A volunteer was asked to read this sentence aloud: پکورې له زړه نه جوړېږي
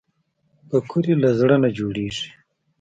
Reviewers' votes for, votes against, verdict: 1, 2, rejected